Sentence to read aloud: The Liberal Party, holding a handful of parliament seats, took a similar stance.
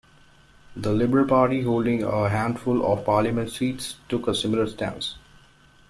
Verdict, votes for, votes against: accepted, 2, 0